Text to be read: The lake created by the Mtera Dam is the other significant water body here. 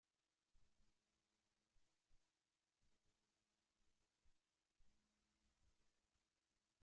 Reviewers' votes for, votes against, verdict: 0, 2, rejected